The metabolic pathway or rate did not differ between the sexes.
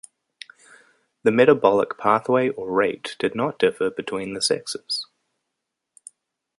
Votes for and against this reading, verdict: 2, 0, accepted